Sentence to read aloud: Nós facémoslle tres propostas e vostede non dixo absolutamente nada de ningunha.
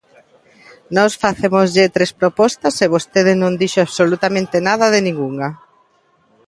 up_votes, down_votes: 2, 0